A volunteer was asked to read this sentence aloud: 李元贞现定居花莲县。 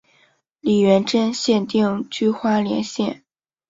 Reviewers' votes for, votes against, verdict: 3, 0, accepted